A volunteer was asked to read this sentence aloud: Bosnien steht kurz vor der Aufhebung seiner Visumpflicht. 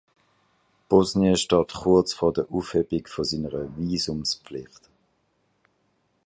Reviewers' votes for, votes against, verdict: 0, 2, rejected